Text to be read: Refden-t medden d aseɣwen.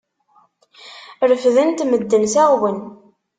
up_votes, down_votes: 0, 2